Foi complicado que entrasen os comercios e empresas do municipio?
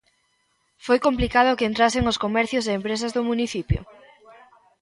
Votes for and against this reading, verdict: 1, 2, rejected